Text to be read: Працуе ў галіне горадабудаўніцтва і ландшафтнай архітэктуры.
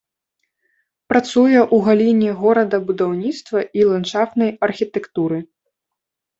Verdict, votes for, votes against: rejected, 1, 2